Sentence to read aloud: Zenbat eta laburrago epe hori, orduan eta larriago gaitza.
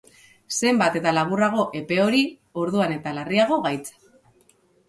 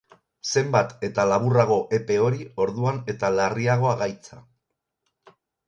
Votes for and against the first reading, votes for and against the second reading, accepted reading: 2, 0, 0, 4, first